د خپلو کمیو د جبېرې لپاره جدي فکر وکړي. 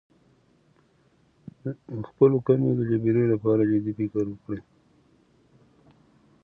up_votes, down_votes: 0, 2